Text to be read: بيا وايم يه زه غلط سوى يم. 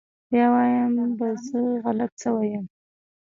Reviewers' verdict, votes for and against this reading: rejected, 1, 2